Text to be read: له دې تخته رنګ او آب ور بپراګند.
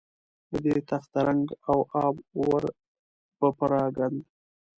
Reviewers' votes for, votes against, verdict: 3, 1, accepted